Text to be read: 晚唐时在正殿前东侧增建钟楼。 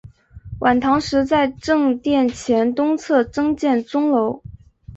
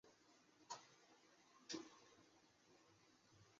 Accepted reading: first